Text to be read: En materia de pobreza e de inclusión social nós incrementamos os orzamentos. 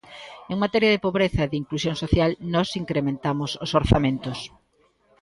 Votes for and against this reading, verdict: 2, 0, accepted